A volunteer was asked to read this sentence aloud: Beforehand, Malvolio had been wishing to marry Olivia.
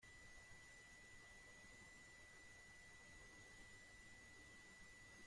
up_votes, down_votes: 0, 2